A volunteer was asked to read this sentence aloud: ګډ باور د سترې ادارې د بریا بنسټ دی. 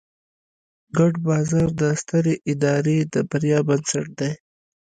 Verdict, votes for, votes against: accepted, 2, 0